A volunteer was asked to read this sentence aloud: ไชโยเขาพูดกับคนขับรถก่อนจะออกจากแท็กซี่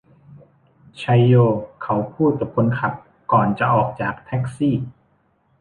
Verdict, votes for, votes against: rejected, 0, 2